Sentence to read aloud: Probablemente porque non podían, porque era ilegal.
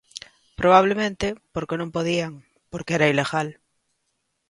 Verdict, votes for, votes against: accepted, 2, 0